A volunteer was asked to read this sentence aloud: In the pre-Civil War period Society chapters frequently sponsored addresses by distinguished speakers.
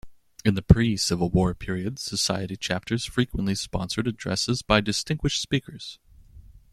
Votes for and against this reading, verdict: 2, 0, accepted